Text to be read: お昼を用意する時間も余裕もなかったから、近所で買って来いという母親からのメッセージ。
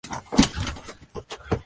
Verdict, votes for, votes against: rejected, 6, 18